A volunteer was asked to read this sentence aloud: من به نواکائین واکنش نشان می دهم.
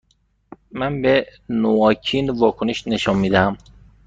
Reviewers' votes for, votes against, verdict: 1, 2, rejected